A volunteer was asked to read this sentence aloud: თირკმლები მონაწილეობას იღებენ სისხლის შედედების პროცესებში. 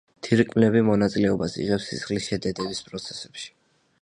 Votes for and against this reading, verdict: 0, 2, rejected